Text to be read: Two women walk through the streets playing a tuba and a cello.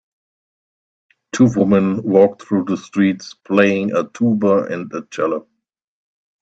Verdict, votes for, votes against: rejected, 1, 2